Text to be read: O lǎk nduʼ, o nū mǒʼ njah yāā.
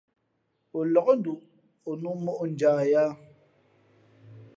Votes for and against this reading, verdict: 4, 0, accepted